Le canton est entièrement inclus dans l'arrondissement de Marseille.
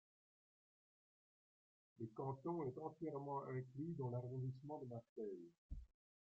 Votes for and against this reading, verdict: 2, 0, accepted